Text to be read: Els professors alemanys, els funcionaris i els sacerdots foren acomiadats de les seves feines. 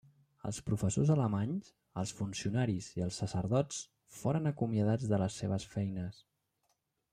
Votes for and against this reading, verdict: 3, 1, accepted